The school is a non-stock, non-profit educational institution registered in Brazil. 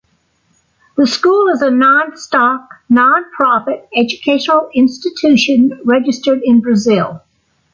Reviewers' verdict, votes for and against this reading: accepted, 2, 0